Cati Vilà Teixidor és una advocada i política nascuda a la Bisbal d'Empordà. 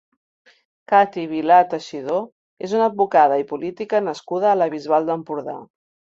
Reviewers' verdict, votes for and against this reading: accepted, 3, 0